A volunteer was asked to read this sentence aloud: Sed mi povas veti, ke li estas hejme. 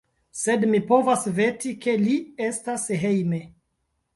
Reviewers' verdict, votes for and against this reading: rejected, 1, 2